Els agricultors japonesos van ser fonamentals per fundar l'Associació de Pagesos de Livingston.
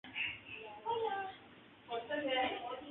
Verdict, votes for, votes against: rejected, 0, 9